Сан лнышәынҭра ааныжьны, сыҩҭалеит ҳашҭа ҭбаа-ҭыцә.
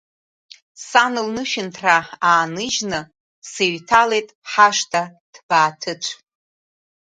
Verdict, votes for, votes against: accepted, 2, 0